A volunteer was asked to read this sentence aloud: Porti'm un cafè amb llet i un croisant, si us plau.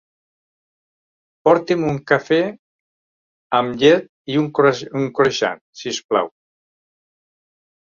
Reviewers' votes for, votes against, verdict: 1, 2, rejected